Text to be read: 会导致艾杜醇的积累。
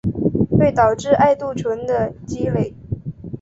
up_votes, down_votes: 3, 0